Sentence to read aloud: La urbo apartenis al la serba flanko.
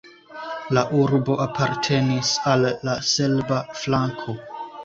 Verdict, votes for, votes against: accepted, 2, 0